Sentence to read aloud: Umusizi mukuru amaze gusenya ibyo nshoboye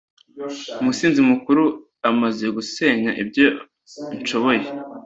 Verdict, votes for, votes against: rejected, 1, 2